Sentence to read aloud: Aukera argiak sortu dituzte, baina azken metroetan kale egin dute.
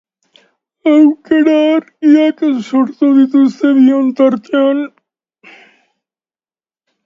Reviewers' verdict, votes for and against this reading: rejected, 0, 2